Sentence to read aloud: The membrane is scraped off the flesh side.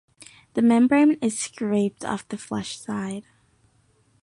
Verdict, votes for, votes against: accepted, 2, 0